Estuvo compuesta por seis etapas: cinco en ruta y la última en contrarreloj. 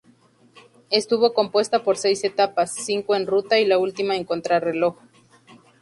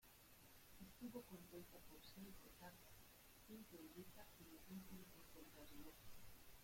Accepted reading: first